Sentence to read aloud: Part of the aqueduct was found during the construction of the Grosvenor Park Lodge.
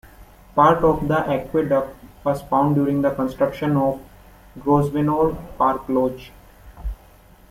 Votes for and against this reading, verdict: 1, 2, rejected